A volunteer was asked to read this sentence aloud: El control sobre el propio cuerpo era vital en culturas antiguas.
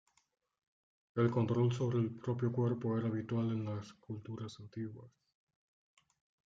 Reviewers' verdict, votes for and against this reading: rejected, 0, 2